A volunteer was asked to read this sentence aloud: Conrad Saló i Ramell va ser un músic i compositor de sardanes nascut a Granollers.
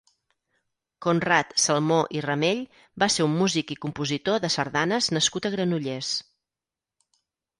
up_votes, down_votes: 0, 6